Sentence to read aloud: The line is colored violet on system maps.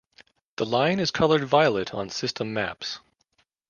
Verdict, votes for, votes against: accepted, 2, 0